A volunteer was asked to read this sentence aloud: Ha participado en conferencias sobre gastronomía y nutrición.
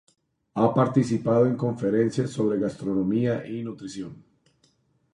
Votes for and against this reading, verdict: 2, 0, accepted